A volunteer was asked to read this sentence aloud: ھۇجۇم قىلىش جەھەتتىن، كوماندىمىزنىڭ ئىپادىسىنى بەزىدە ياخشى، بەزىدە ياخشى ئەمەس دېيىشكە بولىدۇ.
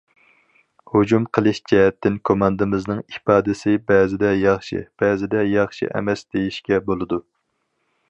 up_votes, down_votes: 2, 2